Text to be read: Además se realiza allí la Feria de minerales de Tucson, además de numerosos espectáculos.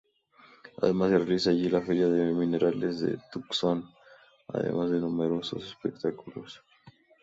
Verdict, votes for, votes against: accepted, 2, 0